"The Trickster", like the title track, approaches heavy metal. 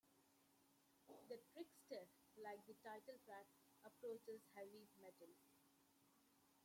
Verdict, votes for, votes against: accepted, 2, 1